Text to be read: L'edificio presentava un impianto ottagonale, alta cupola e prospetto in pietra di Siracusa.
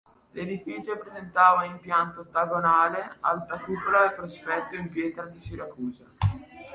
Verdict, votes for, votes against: accepted, 2, 1